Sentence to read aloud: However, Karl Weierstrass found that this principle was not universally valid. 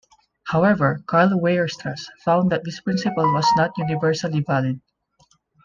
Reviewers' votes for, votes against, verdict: 2, 0, accepted